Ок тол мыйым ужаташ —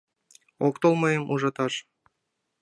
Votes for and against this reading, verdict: 2, 0, accepted